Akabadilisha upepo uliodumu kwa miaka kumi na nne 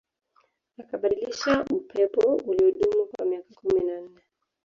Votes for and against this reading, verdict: 1, 2, rejected